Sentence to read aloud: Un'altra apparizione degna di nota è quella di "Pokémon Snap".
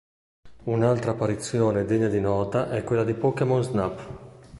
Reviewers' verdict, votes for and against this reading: accepted, 2, 0